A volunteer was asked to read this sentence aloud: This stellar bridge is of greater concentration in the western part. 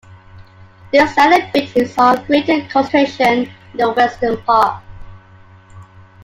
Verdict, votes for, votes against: rejected, 1, 2